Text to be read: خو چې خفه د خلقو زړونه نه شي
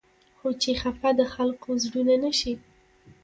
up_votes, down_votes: 0, 2